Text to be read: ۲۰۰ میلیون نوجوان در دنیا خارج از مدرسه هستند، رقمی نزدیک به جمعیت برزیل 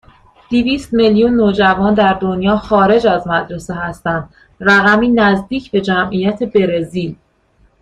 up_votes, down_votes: 0, 2